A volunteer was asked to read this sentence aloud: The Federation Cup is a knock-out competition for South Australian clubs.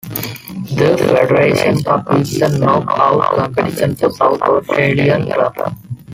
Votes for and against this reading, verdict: 0, 2, rejected